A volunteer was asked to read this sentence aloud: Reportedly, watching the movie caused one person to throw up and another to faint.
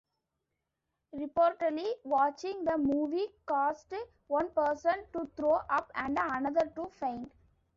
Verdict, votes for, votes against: rejected, 1, 2